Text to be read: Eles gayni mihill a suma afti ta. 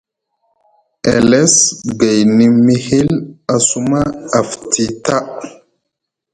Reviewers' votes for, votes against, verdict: 0, 2, rejected